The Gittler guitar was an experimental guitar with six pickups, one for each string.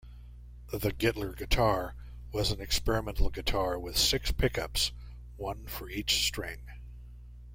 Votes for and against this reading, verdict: 2, 0, accepted